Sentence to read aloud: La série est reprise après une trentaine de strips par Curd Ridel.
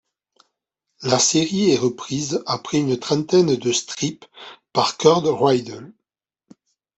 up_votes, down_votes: 2, 0